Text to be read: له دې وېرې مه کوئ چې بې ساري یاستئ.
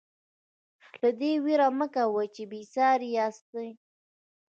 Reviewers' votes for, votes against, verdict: 2, 0, accepted